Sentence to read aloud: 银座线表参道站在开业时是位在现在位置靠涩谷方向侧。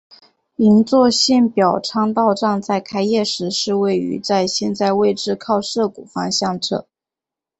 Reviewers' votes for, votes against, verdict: 5, 0, accepted